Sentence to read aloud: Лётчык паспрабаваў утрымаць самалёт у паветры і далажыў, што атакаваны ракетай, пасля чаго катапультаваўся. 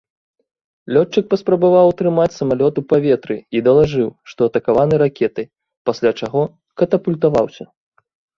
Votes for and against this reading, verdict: 2, 0, accepted